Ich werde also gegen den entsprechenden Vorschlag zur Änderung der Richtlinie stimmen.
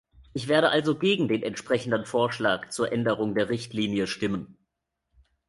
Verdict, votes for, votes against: accepted, 3, 0